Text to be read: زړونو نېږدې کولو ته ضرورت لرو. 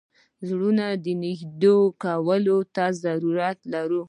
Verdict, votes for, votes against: rejected, 0, 2